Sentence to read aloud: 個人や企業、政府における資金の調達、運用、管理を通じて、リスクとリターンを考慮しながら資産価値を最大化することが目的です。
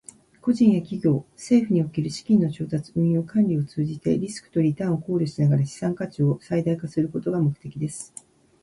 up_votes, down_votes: 0, 2